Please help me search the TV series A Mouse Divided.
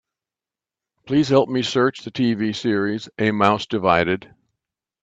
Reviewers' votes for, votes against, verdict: 2, 0, accepted